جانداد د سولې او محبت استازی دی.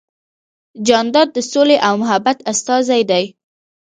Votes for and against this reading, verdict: 1, 2, rejected